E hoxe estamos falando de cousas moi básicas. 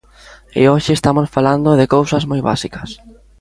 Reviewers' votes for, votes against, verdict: 1, 2, rejected